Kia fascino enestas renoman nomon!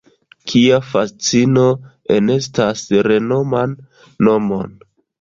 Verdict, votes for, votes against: accepted, 2, 0